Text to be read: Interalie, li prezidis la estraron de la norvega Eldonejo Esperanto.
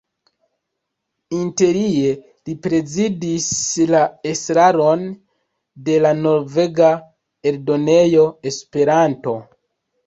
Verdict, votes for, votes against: rejected, 1, 2